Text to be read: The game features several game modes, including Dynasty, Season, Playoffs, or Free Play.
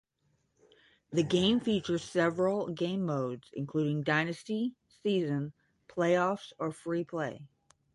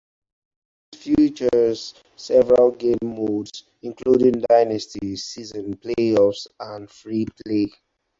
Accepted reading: first